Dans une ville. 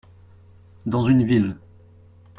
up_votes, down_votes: 2, 0